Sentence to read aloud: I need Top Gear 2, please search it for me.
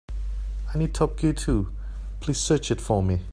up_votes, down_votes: 0, 2